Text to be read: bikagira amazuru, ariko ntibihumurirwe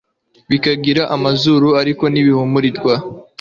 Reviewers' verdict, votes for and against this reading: accepted, 2, 0